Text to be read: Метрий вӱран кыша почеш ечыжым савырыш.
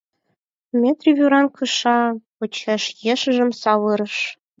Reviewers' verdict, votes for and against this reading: rejected, 2, 4